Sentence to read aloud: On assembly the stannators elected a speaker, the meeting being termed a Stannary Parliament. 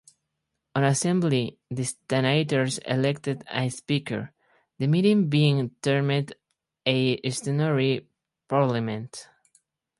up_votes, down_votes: 4, 0